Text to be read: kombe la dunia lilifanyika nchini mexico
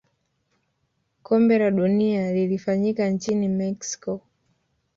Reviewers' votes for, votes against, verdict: 2, 0, accepted